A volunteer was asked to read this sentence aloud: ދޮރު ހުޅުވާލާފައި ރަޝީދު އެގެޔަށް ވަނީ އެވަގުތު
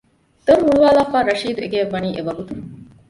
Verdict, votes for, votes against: rejected, 1, 2